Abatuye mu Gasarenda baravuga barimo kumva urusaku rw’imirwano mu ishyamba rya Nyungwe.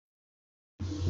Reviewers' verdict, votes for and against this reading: rejected, 0, 2